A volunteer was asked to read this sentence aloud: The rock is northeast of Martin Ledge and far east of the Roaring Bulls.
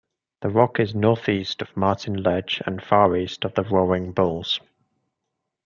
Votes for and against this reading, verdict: 2, 0, accepted